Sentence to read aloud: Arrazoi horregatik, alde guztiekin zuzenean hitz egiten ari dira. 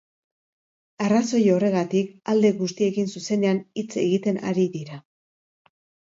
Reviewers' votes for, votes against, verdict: 2, 0, accepted